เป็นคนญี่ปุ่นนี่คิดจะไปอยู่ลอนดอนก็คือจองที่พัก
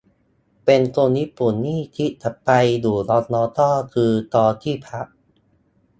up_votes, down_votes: 0, 2